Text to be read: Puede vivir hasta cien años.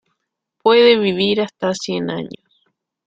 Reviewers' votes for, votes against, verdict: 2, 0, accepted